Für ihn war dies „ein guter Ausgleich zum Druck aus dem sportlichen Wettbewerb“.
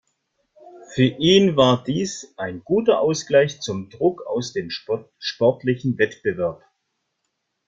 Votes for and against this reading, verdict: 1, 2, rejected